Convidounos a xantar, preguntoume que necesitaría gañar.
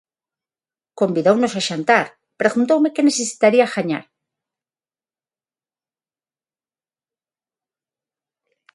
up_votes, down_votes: 6, 0